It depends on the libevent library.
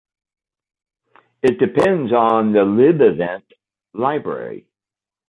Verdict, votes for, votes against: accepted, 2, 1